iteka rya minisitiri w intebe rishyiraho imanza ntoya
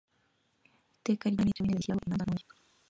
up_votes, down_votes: 0, 2